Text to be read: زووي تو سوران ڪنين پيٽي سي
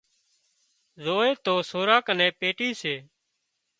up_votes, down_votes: 2, 0